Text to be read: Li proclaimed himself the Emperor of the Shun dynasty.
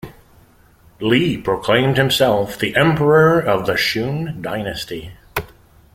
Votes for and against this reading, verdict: 2, 0, accepted